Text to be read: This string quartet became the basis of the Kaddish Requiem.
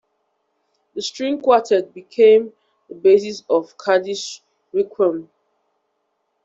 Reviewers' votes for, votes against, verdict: 1, 2, rejected